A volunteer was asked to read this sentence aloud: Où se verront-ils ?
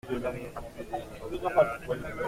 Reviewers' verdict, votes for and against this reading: rejected, 0, 2